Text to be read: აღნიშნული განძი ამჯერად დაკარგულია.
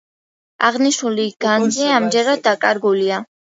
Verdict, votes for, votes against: rejected, 1, 2